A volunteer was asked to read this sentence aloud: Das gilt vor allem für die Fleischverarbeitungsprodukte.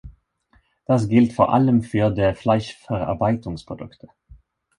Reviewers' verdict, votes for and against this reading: rejected, 1, 3